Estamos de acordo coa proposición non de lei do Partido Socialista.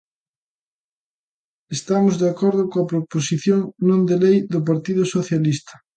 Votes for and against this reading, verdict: 2, 0, accepted